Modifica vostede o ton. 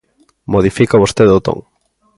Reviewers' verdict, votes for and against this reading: accepted, 2, 0